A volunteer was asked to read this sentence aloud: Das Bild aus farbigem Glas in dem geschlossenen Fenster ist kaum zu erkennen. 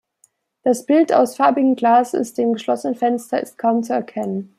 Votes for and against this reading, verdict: 1, 2, rejected